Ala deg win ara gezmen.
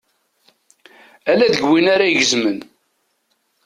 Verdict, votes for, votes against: accepted, 2, 0